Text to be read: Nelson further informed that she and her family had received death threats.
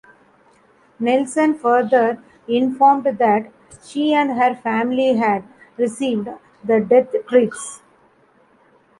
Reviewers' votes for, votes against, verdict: 1, 2, rejected